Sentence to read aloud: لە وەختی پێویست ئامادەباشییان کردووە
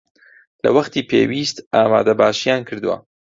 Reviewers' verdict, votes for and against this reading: accepted, 2, 0